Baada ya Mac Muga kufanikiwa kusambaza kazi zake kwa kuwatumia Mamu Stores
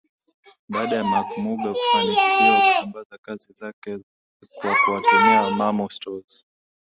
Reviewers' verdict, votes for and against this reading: rejected, 0, 2